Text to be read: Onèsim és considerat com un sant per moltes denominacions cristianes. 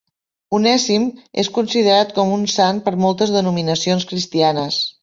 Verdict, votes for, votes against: accepted, 5, 0